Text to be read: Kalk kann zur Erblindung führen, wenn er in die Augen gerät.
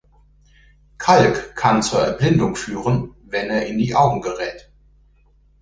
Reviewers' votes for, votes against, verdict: 2, 1, accepted